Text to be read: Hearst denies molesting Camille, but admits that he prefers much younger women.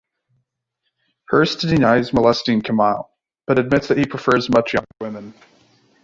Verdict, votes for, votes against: rejected, 1, 2